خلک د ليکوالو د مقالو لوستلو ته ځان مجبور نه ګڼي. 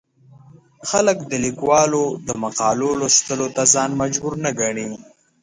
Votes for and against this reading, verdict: 2, 0, accepted